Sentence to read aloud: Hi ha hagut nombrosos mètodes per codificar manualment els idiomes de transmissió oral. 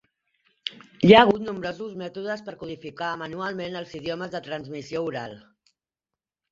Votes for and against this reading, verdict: 2, 1, accepted